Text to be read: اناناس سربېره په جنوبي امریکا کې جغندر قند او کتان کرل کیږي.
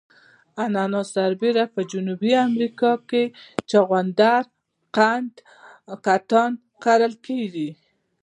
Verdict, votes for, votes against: rejected, 0, 2